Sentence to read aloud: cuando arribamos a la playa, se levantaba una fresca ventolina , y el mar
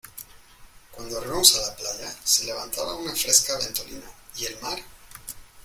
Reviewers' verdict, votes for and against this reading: rejected, 1, 2